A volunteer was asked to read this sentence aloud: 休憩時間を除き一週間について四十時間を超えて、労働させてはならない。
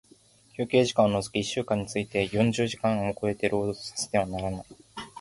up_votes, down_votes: 1, 2